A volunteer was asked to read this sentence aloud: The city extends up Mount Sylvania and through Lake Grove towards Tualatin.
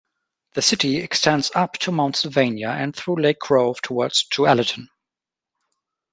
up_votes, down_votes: 0, 2